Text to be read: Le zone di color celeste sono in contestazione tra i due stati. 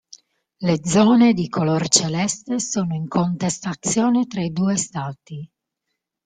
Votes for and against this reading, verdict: 2, 1, accepted